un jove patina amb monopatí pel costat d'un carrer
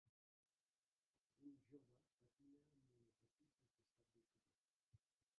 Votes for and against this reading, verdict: 0, 2, rejected